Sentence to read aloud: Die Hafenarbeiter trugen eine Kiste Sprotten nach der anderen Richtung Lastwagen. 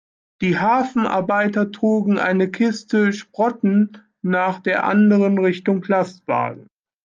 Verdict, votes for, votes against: accepted, 2, 0